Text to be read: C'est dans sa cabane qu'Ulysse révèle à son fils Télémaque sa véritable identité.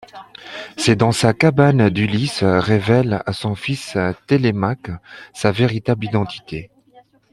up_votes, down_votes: 0, 2